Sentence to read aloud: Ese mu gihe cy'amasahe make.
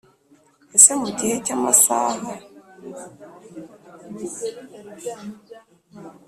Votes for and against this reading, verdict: 2, 3, rejected